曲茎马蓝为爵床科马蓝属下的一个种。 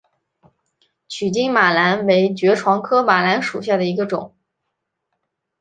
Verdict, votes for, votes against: accepted, 2, 1